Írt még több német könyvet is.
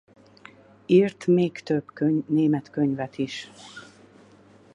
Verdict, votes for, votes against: rejected, 0, 4